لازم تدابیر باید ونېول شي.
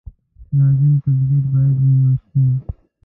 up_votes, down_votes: 2, 0